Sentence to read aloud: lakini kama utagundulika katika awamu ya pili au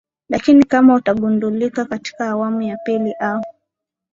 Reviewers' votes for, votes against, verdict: 2, 0, accepted